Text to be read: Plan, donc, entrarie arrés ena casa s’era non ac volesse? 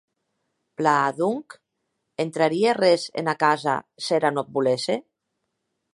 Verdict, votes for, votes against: accepted, 3, 0